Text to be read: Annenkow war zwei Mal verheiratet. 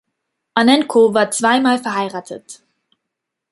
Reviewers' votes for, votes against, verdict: 2, 0, accepted